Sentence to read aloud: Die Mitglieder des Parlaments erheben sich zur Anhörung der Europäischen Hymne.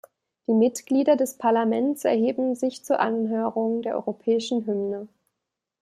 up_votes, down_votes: 2, 0